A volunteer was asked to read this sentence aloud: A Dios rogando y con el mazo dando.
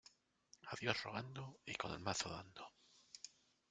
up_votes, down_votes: 0, 2